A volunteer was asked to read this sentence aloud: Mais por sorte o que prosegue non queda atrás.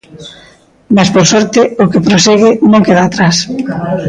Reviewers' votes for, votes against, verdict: 1, 2, rejected